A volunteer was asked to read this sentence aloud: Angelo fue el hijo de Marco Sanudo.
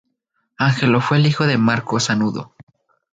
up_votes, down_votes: 0, 2